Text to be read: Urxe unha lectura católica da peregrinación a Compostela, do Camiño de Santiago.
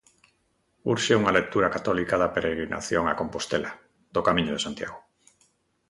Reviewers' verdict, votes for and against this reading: accepted, 2, 0